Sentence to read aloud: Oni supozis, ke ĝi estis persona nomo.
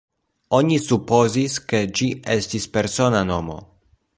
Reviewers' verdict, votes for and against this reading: accepted, 2, 1